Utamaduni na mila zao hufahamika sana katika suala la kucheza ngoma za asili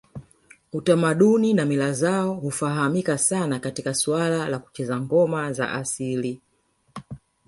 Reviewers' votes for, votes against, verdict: 1, 2, rejected